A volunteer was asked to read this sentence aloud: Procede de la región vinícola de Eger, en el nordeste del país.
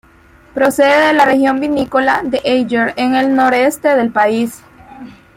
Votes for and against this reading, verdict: 1, 2, rejected